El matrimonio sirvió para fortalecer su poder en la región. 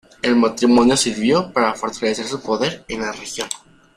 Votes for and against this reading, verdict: 1, 2, rejected